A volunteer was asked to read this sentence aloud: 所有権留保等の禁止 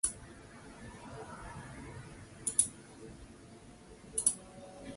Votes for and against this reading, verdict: 0, 4, rejected